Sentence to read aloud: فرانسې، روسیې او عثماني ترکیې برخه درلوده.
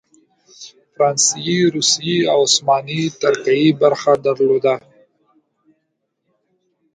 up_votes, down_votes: 3, 0